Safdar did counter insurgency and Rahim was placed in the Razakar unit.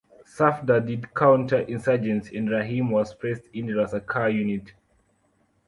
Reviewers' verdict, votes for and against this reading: rejected, 0, 2